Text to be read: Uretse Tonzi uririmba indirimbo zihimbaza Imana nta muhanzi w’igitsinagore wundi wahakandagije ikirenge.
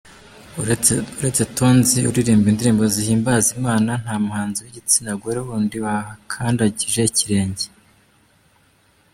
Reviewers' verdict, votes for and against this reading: accepted, 2, 1